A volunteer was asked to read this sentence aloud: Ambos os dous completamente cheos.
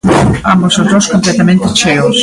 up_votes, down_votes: 2, 0